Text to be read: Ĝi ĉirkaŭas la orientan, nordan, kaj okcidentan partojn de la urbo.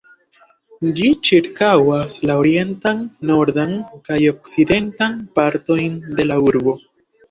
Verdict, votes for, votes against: accepted, 2, 0